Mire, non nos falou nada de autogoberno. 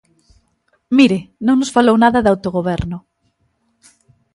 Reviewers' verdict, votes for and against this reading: accepted, 3, 0